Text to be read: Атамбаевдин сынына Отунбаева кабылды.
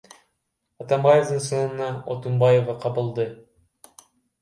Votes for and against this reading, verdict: 0, 2, rejected